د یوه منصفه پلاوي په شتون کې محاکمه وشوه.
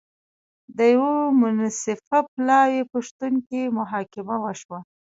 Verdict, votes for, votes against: accepted, 2, 0